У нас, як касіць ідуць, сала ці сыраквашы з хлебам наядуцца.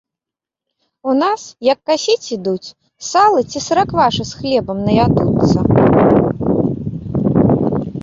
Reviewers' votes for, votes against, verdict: 1, 2, rejected